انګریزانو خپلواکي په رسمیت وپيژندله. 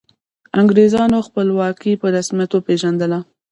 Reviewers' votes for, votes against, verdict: 1, 2, rejected